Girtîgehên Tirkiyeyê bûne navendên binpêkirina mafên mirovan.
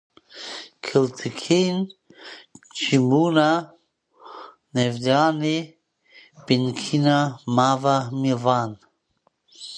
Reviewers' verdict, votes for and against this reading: rejected, 0, 2